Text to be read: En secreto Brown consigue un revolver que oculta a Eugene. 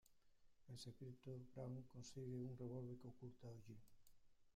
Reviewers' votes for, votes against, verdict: 0, 2, rejected